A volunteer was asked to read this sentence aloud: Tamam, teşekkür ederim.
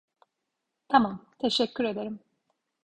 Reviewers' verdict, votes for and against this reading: accepted, 2, 0